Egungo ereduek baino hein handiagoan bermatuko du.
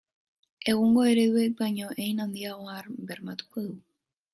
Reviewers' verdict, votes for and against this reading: rejected, 0, 2